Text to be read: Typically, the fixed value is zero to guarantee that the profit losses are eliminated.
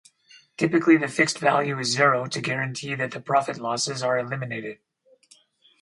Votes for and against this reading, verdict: 4, 0, accepted